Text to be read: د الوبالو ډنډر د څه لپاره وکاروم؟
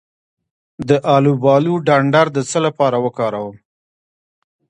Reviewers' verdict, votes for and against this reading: rejected, 1, 2